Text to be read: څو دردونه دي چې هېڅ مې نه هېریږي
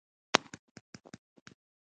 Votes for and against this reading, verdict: 0, 2, rejected